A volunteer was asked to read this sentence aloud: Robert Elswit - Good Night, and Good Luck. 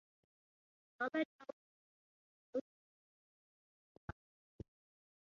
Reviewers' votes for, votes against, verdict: 0, 2, rejected